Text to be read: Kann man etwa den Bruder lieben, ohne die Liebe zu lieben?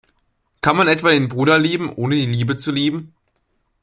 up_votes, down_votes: 2, 1